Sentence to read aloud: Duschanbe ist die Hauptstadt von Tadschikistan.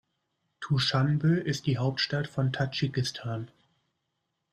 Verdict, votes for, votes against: accepted, 2, 0